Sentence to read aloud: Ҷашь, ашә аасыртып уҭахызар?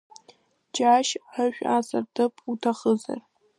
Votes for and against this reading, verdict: 1, 2, rejected